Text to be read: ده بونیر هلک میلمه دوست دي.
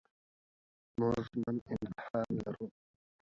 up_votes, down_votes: 0, 3